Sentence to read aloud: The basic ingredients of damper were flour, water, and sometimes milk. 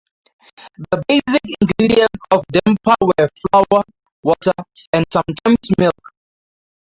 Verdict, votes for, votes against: accepted, 4, 0